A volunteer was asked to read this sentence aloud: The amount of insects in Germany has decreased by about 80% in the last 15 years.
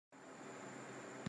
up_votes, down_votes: 0, 2